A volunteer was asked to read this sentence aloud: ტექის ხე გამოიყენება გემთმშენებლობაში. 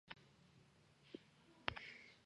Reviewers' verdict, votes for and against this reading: rejected, 1, 2